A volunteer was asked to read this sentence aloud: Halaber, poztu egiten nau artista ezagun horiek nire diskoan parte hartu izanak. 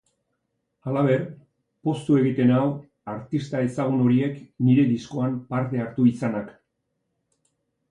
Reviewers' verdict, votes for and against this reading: accepted, 3, 0